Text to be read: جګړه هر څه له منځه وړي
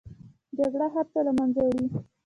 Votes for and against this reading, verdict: 1, 2, rejected